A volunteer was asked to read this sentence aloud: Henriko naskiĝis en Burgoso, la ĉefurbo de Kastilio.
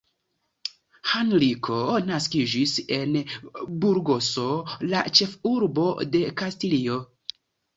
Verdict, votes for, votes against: rejected, 1, 2